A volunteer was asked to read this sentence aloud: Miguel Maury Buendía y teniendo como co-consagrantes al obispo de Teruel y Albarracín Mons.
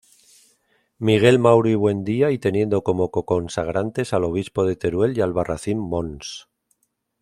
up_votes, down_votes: 2, 0